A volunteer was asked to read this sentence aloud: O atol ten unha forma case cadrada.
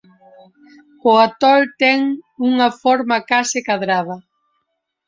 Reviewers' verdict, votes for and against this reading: rejected, 3, 4